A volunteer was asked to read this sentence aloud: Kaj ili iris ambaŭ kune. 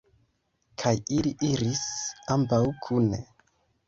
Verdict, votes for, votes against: rejected, 1, 2